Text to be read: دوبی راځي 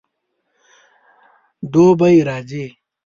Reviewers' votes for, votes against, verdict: 2, 0, accepted